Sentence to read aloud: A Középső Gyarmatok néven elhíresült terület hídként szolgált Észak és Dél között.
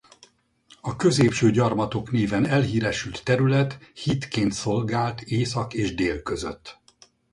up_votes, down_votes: 2, 2